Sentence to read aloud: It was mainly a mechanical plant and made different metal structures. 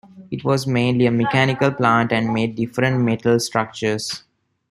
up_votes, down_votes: 2, 1